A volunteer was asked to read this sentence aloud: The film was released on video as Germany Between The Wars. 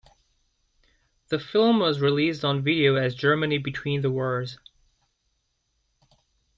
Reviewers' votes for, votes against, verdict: 2, 0, accepted